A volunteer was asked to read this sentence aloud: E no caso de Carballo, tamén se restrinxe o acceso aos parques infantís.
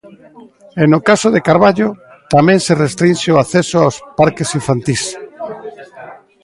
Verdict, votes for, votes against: rejected, 1, 2